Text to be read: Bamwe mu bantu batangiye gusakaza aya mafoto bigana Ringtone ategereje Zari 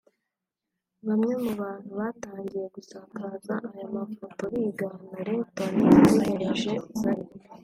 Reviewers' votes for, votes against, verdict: 2, 0, accepted